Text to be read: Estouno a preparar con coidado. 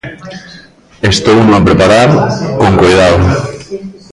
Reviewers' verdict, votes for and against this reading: rejected, 0, 2